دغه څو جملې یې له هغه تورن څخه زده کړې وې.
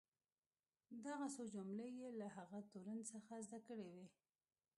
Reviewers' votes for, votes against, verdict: 1, 2, rejected